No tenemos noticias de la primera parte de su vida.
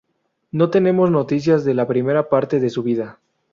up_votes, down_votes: 2, 0